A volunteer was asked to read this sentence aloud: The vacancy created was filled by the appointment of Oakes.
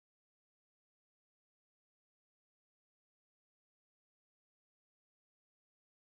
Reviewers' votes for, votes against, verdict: 0, 2, rejected